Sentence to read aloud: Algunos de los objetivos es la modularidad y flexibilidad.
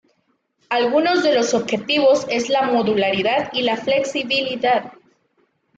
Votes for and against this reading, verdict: 1, 2, rejected